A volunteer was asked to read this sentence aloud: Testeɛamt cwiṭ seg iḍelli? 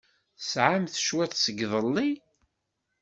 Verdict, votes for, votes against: accepted, 2, 1